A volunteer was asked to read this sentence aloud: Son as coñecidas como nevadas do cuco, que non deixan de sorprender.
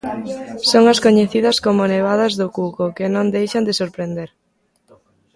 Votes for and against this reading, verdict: 2, 0, accepted